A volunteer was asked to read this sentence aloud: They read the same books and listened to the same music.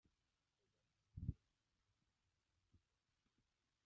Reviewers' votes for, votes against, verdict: 0, 2, rejected